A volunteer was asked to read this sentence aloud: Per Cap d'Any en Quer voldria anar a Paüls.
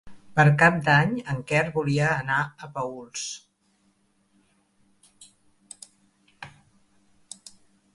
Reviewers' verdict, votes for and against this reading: rejected, 0, 2